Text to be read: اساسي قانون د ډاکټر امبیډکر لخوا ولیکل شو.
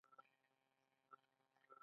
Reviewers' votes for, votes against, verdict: 1, 2, rejected